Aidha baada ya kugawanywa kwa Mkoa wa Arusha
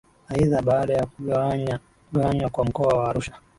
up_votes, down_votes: 2, 0